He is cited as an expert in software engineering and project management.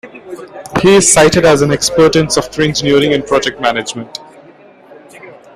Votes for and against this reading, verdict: 2, 0, accepted